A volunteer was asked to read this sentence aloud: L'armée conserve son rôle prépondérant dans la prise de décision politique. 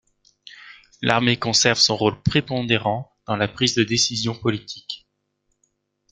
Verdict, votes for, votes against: accepted, 2, 0